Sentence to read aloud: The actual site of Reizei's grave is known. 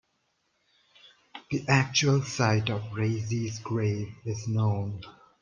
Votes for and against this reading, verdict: 2, 0, accepted